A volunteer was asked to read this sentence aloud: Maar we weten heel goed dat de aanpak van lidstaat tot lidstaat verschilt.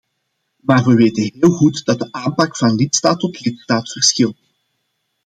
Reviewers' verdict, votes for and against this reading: accepted, 2, 0